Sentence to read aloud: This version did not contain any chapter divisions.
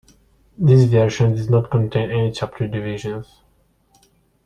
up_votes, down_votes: 2, 0